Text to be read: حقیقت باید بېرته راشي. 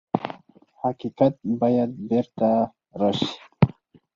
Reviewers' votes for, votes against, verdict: 4, 0, accepted